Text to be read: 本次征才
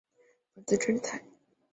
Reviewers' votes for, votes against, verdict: 0, 3, rejected